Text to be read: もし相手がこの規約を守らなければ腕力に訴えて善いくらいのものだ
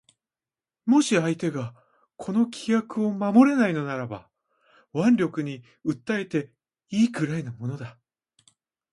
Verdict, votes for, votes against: rejected, 0, 2